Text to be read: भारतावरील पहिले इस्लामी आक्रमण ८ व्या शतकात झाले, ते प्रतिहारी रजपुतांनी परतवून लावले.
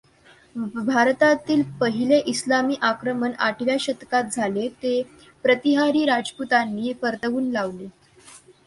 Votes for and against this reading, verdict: 0, 2, rejected